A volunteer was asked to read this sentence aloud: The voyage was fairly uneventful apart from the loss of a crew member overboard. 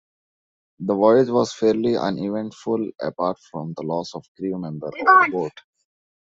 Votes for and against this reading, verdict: 0, 2, rejected